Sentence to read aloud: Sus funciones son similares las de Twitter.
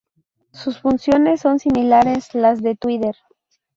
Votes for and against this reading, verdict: 0, 2, rejected